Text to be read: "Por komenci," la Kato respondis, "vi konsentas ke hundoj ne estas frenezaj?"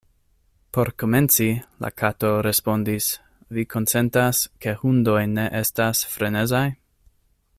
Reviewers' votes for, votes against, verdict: 2, 0, accepted